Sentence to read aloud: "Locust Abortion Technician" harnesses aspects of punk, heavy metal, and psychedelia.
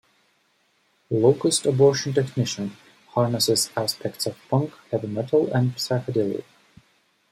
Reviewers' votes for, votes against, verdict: 2, 0, accepted